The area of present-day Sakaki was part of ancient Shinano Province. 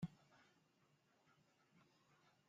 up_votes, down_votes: 0, 2